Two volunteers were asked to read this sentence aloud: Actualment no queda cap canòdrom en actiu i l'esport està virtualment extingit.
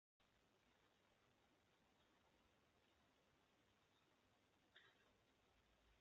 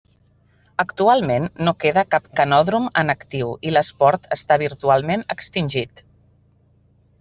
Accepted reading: second